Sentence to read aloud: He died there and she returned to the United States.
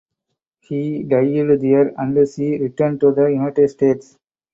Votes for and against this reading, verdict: 2, 4, rejected